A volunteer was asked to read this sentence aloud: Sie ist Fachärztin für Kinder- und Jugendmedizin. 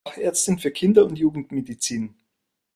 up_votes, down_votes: 0, 2